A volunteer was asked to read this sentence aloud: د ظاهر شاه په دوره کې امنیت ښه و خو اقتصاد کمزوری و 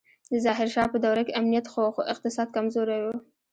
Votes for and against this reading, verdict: 1, 2, rejected